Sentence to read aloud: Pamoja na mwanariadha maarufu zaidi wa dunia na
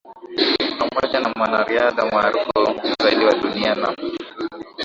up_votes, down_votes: 0, 2